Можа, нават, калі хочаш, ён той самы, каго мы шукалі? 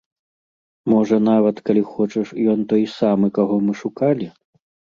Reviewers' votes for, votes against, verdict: 2, 0, accepted